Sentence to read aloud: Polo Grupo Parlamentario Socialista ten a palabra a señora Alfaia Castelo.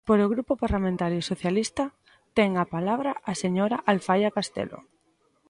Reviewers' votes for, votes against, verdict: 2, 0, accepted